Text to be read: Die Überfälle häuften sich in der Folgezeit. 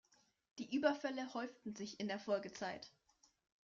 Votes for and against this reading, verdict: 2, 0, accepted